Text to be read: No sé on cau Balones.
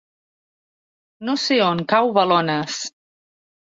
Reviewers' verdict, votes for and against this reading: accepted, 3, 0